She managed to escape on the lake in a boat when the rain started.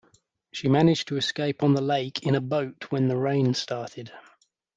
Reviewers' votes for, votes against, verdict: 2, 0, accepted